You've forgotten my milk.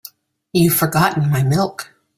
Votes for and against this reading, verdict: 1, 2, rejected